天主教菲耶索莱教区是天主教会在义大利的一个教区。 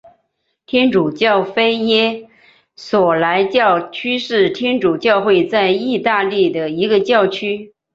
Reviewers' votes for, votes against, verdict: 2, 1, accepted